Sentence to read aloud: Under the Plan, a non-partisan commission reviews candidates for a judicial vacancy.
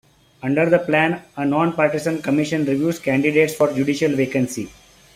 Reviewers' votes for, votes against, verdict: 0, 2, rejected